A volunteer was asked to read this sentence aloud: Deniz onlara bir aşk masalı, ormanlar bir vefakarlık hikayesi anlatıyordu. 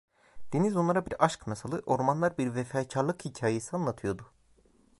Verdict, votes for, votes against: rejected, 1, 2